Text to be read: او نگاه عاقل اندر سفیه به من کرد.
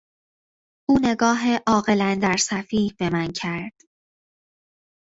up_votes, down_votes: 2, 0